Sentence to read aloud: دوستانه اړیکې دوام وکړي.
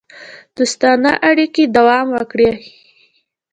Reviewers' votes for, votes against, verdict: 2, 0, accepted